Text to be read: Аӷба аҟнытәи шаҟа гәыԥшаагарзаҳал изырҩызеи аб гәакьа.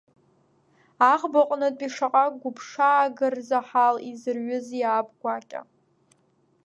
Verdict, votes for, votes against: accepted, 2, 1